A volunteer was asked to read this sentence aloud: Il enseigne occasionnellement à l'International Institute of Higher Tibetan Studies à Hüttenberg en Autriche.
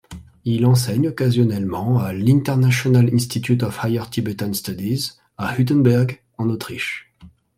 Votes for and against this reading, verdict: 2, 0, accepted